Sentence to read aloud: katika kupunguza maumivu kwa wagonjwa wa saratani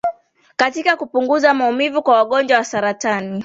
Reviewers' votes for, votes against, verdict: 2, 0, accepted